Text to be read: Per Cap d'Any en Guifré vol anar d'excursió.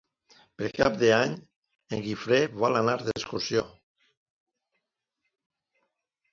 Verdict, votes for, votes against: accepted, 2, 0